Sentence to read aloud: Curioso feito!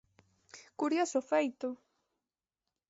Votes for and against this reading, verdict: 2, 0, accepted